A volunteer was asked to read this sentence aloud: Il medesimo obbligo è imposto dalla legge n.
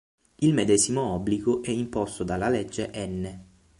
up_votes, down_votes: 6, 0